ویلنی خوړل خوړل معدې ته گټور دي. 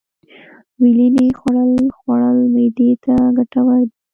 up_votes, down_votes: 1, 2